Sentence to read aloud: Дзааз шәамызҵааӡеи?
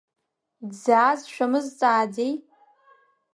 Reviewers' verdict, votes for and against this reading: accepted, 2, 0